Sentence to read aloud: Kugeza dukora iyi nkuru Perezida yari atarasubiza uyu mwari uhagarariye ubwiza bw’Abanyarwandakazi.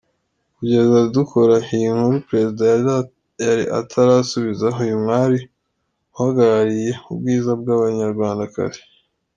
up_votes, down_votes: 0, 2